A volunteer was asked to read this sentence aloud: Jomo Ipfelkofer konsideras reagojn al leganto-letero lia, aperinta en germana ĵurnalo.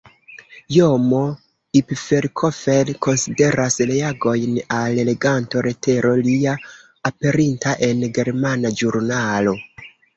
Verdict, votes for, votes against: rejected, 1, 2